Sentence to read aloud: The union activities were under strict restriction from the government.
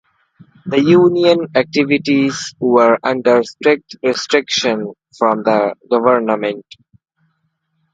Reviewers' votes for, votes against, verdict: 2, 0, accepted